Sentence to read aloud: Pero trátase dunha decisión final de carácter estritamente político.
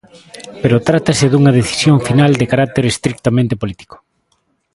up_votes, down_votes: 0, 2